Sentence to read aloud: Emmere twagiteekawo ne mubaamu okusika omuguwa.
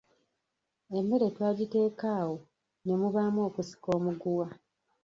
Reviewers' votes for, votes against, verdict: 0, 2, rejected